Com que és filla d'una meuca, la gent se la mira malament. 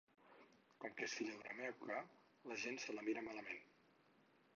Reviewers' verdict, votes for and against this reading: rejected, 2, 4